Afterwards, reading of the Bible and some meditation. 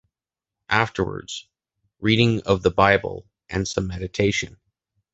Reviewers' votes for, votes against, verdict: 2, 0, accepted